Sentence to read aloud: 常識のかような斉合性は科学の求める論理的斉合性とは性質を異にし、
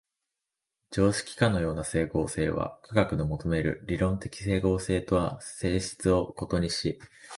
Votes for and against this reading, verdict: 1, 2, rejected